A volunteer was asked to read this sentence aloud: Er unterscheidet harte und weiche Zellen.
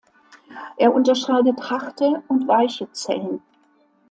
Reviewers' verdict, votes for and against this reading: accepted, 2, 0